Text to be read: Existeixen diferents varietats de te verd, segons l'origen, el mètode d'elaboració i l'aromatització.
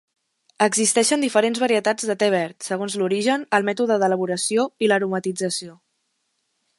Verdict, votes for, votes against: accepted, 2, 0